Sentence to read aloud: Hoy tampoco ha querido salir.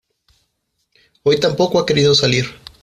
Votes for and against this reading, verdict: 2, 0, accepted